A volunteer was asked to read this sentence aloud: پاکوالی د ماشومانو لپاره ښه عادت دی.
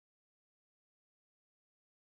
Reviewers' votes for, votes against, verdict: 2, 4, rejected